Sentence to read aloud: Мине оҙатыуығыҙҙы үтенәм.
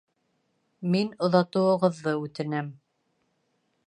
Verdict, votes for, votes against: rejected, 2, 3